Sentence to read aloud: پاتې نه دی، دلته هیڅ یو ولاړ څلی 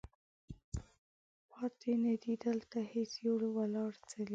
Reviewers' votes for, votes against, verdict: 1, 2, rejected